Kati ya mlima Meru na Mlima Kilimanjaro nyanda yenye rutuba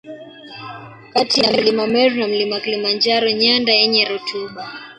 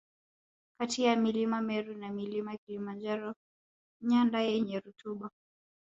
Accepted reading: second